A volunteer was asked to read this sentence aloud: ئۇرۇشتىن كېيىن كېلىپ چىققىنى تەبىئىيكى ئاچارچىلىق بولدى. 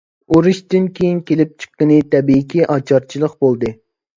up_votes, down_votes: 2, 0